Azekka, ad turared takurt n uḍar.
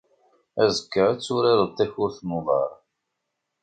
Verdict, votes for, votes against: accepted, 2, 1